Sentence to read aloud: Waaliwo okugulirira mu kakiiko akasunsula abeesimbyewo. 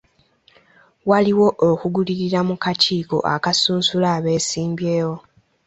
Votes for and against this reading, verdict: 2, 0, accepted